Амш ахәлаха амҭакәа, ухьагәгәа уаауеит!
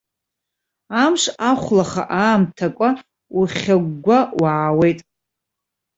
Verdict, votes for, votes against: rejected, 1, 2